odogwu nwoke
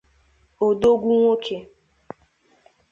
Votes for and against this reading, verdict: 2, 0, accepted